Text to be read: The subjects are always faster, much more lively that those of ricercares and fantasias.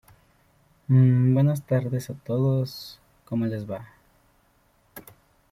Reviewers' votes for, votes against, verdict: 0, 2, rejected